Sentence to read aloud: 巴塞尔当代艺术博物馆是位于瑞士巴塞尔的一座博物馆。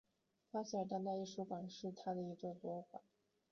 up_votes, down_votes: 0, 2